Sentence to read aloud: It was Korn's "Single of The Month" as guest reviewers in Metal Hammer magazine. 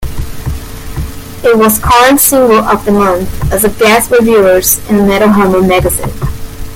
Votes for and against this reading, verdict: 2, 0, accepted